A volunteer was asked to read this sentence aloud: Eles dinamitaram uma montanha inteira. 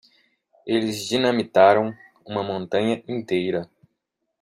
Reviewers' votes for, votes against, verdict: 2, 0, accepted